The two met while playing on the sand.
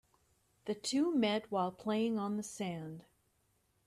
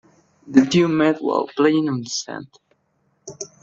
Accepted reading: first